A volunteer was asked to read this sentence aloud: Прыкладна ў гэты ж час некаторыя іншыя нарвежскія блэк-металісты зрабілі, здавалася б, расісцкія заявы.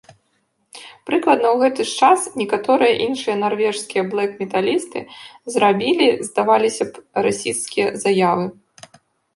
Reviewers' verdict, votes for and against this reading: rejected, 0, 2